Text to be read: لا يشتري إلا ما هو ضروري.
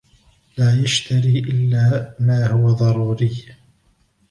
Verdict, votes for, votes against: accepted, 2, 0